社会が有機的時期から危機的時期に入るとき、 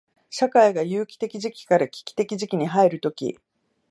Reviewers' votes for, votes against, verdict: 2, 0, accepted